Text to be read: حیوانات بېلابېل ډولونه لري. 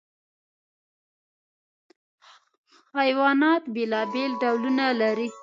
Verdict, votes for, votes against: rejected, 1, 2